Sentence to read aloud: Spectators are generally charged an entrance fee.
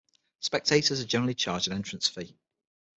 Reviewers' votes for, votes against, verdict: 6, 0, accepted